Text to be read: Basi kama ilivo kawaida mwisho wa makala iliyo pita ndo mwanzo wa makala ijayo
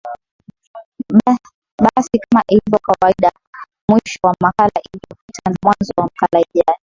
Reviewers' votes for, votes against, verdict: 11, 2, accepted